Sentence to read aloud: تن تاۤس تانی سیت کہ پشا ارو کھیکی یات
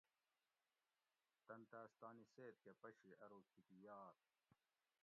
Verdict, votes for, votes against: rejected, 0, 2